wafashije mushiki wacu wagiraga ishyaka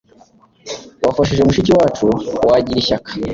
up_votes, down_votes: 2, 0